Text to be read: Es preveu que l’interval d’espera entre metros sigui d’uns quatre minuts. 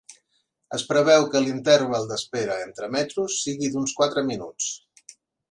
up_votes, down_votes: 1, 2